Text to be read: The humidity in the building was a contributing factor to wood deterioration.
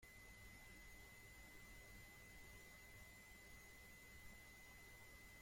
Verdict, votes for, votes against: rejected, 0, 2